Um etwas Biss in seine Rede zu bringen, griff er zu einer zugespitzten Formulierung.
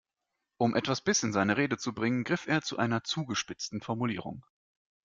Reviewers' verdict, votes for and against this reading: accepted, 2, 0